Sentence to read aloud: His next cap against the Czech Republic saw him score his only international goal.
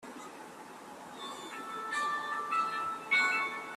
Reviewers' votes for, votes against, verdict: 0, 2, rejected